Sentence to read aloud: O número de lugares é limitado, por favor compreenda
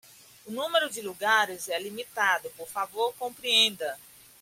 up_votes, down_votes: 2, 1